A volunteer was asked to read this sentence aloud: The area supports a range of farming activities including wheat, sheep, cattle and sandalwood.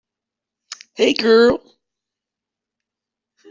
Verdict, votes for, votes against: rejected, 0, 2